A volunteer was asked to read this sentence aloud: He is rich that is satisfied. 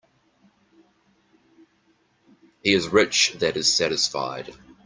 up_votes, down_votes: 2, 0